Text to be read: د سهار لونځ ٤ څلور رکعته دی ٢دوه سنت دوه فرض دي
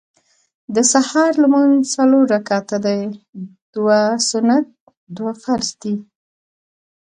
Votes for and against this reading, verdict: 0, 2, rejected